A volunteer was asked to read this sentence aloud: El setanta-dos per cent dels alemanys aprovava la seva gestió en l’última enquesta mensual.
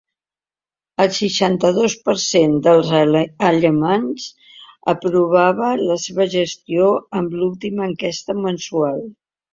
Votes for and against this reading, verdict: 0, 2, rejected